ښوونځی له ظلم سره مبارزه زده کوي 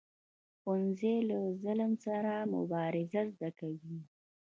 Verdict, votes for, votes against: rejected, 1, 2